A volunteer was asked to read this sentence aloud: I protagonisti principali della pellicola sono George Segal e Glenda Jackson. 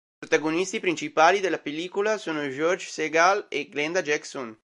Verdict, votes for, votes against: rejected, 0, 2